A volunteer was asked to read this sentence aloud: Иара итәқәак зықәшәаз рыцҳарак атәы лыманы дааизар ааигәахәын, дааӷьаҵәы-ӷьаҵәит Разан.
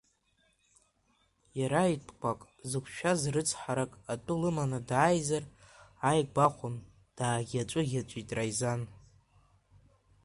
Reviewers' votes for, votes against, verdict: 0, 2, rejected